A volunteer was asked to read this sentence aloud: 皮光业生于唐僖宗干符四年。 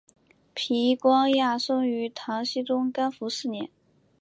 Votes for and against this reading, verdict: 5, 0, accepted